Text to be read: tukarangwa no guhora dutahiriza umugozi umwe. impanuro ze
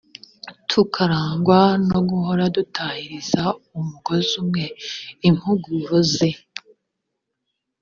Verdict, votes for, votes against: rejected, 1, 2